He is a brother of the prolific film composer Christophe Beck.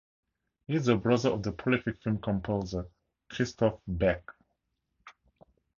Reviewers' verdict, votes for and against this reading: accepted, 4, 0